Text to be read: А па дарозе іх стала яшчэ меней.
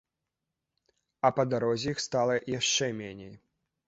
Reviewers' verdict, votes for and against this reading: accepted, 2, 0